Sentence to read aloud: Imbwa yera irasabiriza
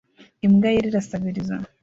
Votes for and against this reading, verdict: 1, 2, rejected